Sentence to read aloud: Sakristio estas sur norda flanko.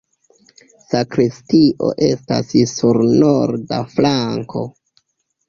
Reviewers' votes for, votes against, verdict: 2, 0, accepted